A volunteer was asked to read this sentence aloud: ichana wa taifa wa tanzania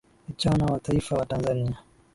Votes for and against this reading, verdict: 11, 1, accepted